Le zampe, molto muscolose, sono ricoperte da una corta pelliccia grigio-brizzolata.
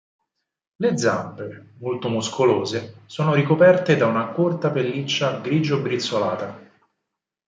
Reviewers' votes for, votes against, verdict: 4, 0, accepted